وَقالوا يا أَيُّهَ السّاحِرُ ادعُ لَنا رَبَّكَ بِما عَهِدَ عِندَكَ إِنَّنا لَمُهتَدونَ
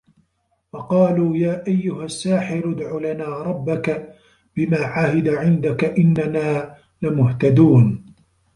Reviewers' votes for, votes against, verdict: 2, 0, accepted